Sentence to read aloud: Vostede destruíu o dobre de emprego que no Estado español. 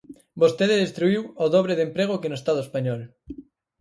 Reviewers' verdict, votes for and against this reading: accepted, 4, 0